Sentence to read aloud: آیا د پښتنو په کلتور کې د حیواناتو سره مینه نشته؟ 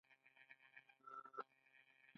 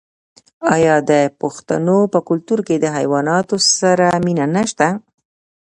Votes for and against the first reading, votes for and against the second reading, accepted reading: 0, 2, 2, 0, second